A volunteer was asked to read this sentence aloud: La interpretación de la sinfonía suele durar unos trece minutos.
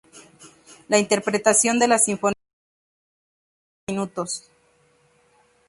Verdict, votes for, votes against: rejected, 0, 2